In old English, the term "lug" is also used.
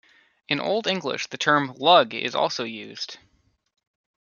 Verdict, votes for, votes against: accepted, 2, 0